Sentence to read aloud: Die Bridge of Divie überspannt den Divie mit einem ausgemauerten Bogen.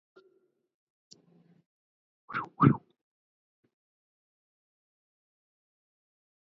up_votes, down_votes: 0, 2